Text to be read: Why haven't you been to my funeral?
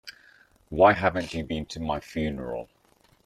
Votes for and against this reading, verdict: 0, 2, rejected